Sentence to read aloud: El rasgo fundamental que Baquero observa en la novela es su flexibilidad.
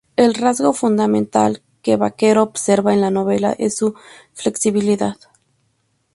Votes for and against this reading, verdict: 2, 0, accepted